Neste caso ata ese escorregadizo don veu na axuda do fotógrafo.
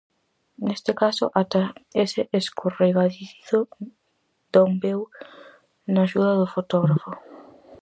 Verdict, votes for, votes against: rejected, 0, 4